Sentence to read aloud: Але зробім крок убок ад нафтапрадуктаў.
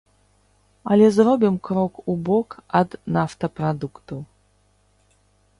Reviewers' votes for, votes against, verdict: 3, 0, accepted